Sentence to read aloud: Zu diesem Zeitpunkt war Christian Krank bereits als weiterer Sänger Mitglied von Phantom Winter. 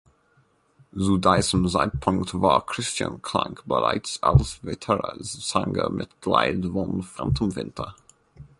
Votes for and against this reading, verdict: 0, 2, rejected